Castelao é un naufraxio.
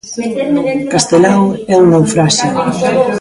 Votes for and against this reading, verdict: 1, 2, rejected